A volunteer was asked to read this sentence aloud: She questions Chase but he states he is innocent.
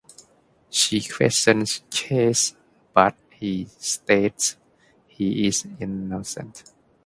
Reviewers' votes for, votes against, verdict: 2, 0, accepted